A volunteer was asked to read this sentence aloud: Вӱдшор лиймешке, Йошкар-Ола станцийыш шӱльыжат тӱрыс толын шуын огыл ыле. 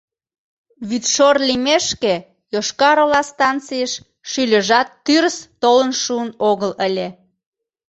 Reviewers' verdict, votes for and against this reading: accepted, 2, 0